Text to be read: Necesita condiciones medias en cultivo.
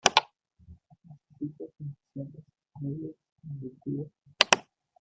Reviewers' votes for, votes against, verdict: 0, 2, rejected